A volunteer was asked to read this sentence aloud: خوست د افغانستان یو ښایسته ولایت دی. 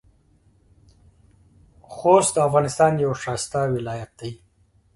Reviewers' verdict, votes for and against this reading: accepted, 2, 0